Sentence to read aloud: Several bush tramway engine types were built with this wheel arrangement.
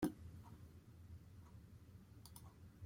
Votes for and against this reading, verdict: 1, 2, rejected